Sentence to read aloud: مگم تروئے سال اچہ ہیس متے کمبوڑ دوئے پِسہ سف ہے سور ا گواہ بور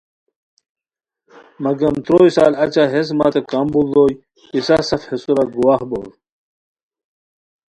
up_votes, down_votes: 2, 0